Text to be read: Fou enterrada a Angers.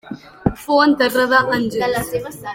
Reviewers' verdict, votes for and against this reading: accepted, 2, 0